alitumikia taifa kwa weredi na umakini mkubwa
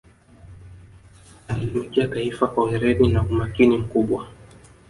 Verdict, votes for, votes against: rejected, 1, 2